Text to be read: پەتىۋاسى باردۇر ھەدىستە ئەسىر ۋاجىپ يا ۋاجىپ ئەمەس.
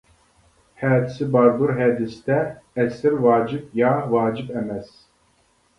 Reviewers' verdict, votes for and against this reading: rejected, 0, 2